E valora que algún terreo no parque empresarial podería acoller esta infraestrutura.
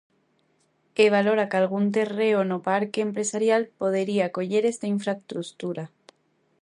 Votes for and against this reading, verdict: 0, 2, rejected